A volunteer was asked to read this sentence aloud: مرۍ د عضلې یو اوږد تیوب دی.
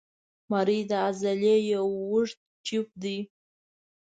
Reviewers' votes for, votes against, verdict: 2, 0, accepted